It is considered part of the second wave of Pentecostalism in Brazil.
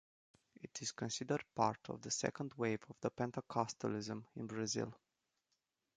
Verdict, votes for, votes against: accepted, 2, 0